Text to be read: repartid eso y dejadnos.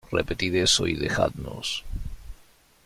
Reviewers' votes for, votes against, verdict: 2, 0, accepted